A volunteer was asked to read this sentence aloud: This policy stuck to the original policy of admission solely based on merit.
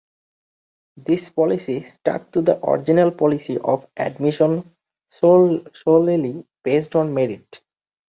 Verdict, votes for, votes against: rejected, 0, 2